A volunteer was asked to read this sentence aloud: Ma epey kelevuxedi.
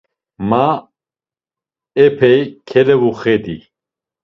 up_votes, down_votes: 2, 0